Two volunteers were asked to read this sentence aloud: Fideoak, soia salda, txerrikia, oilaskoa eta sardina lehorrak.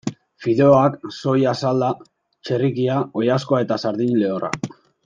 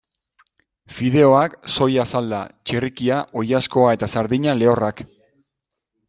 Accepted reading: second